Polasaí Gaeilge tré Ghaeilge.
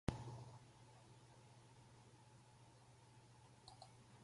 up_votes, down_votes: 0, 4